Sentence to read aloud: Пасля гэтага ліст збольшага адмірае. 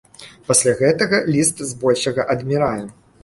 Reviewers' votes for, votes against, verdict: 2, 0, accepted